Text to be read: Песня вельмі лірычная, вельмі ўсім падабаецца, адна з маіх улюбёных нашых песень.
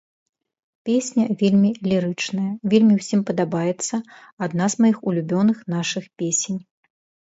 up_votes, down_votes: 3, 0